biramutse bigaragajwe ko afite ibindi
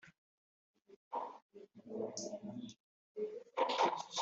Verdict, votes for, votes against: accepted, 2, 1